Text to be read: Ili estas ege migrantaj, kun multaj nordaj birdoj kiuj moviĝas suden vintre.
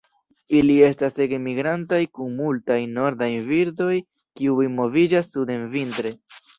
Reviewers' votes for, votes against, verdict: 2, 0, accepted